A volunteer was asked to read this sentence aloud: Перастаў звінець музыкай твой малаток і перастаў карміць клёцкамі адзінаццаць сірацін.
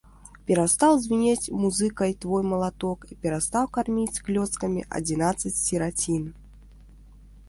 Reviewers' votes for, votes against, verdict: 2, 1, accepted